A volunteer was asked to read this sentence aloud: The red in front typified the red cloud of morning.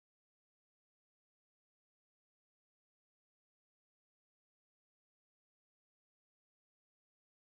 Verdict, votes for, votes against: rejected, 0, 2